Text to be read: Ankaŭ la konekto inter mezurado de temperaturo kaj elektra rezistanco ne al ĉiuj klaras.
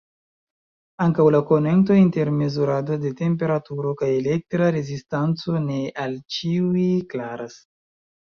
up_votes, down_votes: 0, 2